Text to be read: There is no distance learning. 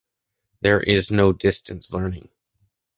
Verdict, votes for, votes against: accepted, 2, 0